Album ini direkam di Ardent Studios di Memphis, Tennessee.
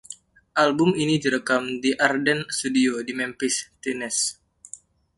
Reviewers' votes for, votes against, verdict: 1, 2, rejected